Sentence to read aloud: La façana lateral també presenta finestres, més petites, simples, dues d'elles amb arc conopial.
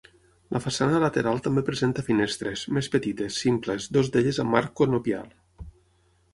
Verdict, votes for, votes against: rejected, 3, 6